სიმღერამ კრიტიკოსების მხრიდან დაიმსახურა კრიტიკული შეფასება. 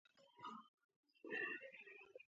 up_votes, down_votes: 0, 2